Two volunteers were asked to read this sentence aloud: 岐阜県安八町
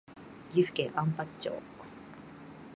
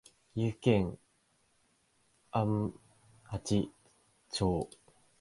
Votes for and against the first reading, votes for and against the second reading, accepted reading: 3, 0, 0, 3, first